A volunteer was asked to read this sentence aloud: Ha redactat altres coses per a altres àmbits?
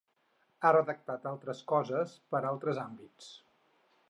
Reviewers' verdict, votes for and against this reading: rejected, 2, 4